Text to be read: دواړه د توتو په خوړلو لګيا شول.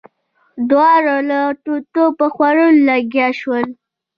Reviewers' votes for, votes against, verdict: 1, 2, rejected